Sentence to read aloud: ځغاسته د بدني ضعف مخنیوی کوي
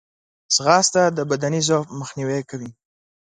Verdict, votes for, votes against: accepted, 2, 0